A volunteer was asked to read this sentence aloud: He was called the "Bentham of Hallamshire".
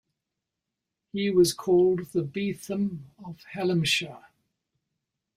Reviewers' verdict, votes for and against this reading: rejected, 1, 2